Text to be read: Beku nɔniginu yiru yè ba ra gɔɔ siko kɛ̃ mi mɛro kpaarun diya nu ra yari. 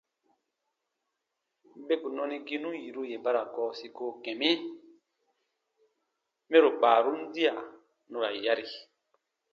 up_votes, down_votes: 2, 0